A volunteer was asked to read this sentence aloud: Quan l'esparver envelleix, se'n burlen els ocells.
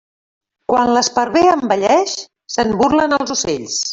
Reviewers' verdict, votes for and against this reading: rejected, 1, 2